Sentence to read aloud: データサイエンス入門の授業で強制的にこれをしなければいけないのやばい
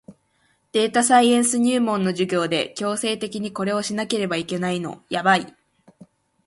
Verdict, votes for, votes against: accepted, 3, 0